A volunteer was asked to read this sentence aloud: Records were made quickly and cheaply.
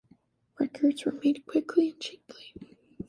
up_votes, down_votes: 0, 2